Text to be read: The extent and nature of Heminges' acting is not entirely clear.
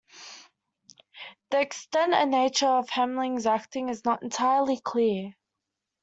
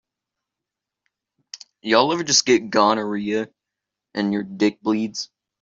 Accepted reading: first